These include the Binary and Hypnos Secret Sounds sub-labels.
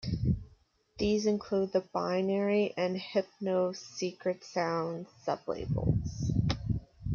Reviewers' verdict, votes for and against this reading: rejected, 0, 2